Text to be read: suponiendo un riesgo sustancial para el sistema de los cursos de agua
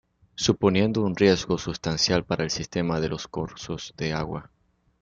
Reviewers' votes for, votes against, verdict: 0, 2, rejected